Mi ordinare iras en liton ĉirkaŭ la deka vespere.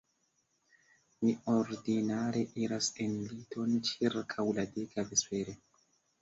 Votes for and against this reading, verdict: 2, 1, accepted